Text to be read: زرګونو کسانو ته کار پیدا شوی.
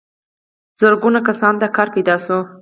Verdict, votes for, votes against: accepted, 4, 2